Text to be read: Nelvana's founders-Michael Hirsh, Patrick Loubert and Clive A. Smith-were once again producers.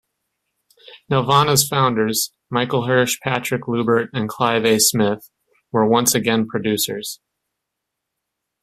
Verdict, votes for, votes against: accepted, 2, 0